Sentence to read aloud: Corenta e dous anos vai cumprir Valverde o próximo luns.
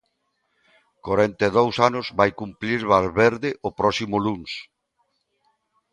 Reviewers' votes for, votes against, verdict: 2, 0, accepted